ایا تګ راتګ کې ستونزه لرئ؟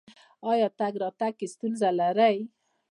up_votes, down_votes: 1, 2